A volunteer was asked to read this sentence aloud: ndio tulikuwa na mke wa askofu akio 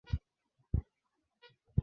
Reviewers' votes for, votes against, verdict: 0, 2, rejected